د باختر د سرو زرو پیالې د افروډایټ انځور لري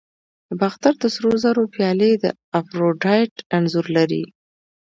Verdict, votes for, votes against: accepted, 2, 0